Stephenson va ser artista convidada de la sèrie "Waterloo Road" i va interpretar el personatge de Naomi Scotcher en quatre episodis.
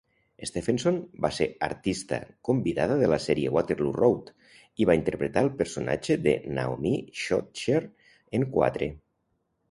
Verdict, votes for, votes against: rejected, 1, 2